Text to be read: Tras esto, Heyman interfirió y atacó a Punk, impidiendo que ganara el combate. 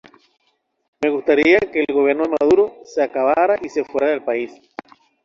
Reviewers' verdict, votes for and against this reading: rejected, 0, 2